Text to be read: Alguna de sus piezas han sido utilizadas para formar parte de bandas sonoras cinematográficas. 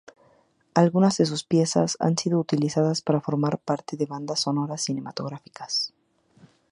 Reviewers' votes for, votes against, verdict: 6, 0, accepted